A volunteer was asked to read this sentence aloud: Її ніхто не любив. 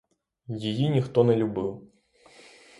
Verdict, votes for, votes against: accepted, 6, 0